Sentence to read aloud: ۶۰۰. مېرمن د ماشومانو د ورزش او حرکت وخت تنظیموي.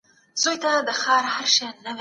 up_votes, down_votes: 0, 2